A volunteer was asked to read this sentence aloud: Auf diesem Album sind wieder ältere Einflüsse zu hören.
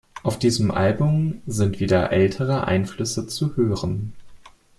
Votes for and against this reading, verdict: 2, 0, accepted